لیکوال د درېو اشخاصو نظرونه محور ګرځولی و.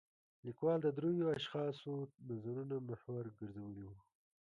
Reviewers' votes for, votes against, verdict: 1, 2, rejected